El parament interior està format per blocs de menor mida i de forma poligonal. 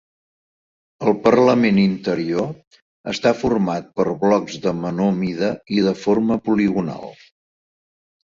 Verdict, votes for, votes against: rejected, 1, 2